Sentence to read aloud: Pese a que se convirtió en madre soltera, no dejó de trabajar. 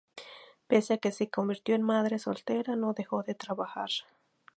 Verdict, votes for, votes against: accepted, 2, 0